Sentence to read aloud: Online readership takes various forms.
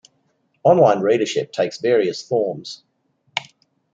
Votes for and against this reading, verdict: 2, 1, accepted